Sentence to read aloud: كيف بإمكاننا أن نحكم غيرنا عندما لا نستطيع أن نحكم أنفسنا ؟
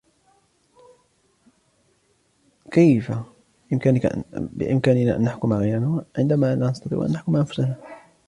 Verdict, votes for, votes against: accepted, 2, 0